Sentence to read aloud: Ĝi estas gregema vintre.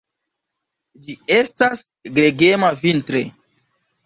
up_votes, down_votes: 1, 2